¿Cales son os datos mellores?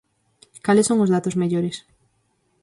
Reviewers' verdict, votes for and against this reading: accepted, 4, 0